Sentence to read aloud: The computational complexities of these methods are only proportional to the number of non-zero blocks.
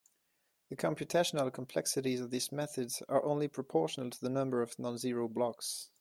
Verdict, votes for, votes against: accepted, 2, 0